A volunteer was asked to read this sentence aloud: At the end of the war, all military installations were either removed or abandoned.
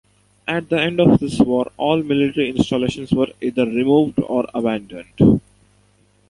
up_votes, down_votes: 2, 1